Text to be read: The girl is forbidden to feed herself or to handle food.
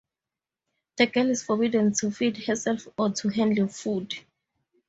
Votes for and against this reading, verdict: 2, 0, accepted